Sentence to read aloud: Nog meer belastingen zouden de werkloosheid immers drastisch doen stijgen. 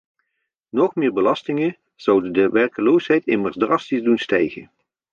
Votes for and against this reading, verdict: 1, 2, rejected